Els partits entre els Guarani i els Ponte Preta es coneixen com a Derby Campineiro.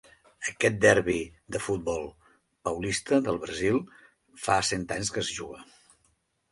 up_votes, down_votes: 0, 3